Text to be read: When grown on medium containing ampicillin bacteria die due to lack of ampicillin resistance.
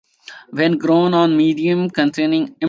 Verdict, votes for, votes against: rejected, 1, 2